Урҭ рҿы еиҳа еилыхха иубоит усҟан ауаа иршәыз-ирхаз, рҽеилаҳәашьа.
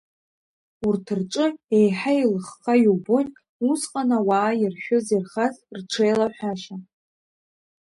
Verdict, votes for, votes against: accepted, 3, 0